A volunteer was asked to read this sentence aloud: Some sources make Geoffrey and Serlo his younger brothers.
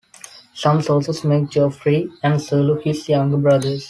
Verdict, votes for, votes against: accepted, 2, 0